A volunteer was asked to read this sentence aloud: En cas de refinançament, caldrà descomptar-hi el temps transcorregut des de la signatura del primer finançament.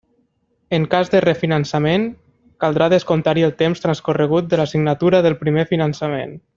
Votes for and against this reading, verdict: 0, 2, rejected